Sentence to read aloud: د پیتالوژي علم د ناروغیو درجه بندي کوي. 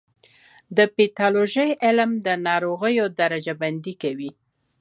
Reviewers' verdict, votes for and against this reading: accepted, 2, 0